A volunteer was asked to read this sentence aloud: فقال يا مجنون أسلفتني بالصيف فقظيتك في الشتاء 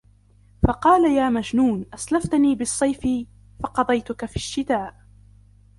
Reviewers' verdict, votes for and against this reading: rejected, 0, 2